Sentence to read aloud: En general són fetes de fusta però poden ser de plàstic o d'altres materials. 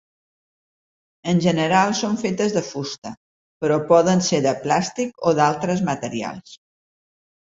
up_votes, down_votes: 5, 0